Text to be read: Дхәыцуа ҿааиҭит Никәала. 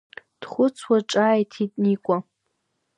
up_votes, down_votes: 0, 2